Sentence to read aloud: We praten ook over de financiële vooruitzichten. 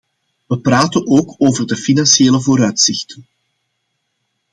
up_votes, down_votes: 2, 0